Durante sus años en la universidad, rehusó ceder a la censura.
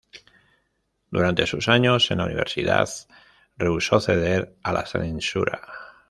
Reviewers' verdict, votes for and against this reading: accepted, 2, 0